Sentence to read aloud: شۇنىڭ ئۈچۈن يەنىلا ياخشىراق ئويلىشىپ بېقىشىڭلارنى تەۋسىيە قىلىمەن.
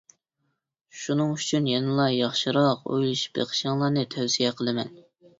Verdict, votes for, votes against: accepted, 2, 0